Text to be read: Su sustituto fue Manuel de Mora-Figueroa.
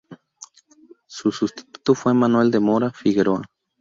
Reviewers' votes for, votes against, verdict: 2, 0, accepted